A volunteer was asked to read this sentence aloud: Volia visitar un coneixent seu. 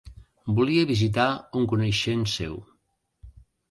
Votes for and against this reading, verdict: 2, 0, accepted